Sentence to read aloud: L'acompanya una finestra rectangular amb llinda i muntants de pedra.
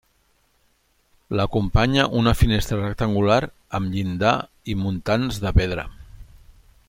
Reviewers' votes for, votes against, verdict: 0, 2, rejected